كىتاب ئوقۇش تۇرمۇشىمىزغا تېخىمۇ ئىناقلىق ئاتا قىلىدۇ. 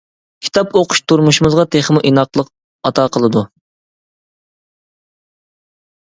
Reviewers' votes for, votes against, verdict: 2, 0, accepted